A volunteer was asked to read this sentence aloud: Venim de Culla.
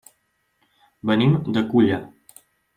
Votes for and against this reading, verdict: 3, 1, accepted